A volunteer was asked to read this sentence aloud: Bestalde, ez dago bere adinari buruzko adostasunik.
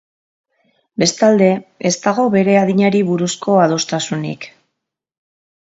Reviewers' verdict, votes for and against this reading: accepted, 5, 0